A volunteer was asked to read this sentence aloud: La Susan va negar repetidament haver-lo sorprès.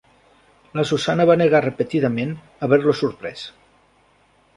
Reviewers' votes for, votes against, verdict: 1, 2, rejected